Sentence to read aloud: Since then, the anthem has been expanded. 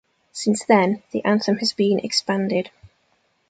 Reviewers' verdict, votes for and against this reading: accepted, 2, 0